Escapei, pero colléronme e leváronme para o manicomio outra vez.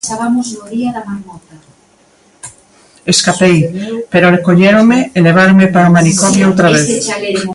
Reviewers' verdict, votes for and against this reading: rejected, 0, 3